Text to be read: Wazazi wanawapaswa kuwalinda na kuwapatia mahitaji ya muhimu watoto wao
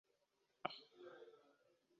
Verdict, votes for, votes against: rejected, 1, 2